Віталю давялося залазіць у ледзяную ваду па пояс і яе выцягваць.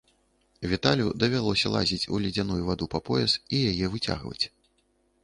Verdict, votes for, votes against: rejected, 1, 2